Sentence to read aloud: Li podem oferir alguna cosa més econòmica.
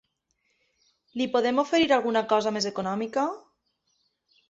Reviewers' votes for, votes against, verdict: 1, 2, rejected